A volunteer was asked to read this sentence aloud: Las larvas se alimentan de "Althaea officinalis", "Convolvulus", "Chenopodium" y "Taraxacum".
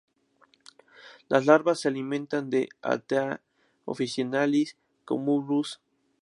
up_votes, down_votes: 0, 2